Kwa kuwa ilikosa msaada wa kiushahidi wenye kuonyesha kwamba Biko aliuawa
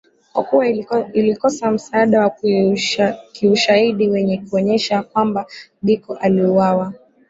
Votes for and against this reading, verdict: 0, 2, rejected